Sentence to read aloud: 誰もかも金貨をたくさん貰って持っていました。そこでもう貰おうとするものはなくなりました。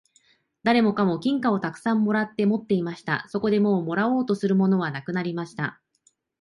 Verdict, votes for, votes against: accepted, 2, 0